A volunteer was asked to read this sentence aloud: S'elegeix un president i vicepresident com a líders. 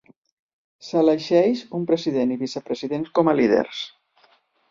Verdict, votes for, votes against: accepted, 2, 0